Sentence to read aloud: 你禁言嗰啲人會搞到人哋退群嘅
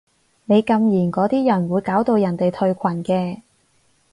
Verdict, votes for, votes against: accepted, 4, 0